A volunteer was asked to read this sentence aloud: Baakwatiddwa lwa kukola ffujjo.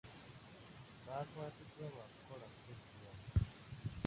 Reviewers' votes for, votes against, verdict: 0, 2, rejected